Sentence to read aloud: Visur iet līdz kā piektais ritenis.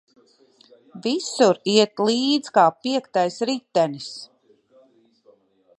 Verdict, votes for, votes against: accepted, 2, 0